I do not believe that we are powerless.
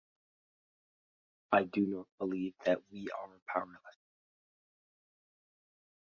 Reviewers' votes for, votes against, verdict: 0, 2, rejected